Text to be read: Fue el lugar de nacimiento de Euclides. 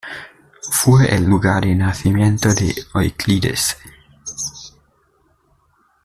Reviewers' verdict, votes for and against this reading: accepted, 2, 1